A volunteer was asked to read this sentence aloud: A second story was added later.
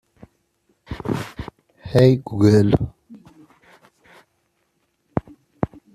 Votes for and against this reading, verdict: 1, 2, rejected